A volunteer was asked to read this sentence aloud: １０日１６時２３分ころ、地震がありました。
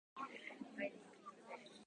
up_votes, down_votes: 0, 2